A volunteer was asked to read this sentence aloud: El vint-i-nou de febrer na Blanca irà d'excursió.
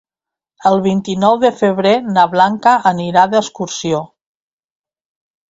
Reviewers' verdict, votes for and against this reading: rejected, 0, 2